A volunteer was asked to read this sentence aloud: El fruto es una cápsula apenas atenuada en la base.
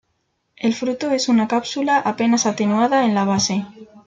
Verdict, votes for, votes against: accepted, 2, 0